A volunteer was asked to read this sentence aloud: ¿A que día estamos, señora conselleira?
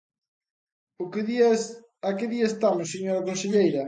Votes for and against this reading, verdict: 0, 2, rejected